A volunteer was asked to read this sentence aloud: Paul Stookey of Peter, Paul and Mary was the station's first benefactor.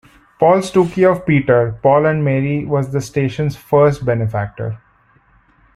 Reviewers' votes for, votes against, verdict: 1, 2, rejected